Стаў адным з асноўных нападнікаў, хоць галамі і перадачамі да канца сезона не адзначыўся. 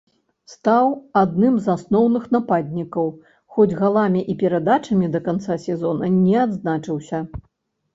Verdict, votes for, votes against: accepted, 3, 0